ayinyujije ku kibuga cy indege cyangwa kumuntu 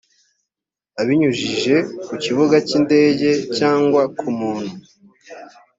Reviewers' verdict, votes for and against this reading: rejected, 1, 2